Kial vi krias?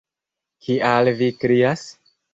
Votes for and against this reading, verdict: 2, 1, accepted